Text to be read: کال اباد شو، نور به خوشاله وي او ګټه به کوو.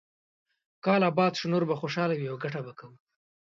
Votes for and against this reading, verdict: 2, 0, accepted